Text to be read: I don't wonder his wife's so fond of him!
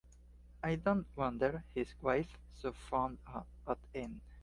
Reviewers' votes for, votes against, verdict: 2, 1, accepted